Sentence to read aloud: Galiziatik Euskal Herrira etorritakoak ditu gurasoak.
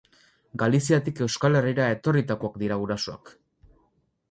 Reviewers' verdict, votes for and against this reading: rejected, 2, 2